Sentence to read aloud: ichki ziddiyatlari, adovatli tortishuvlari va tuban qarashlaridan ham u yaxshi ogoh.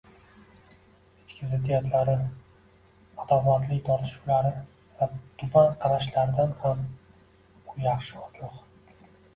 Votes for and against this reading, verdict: 2, 0, accepted